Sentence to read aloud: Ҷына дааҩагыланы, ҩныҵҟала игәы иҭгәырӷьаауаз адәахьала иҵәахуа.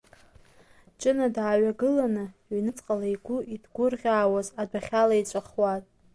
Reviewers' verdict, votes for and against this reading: accepted, 2, 0